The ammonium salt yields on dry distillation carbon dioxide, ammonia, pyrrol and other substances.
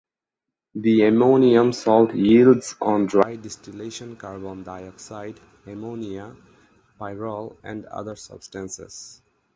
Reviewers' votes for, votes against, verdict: 4, 0, accepted